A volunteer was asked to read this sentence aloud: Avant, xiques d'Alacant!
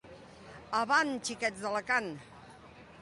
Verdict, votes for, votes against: accepted, 2, 1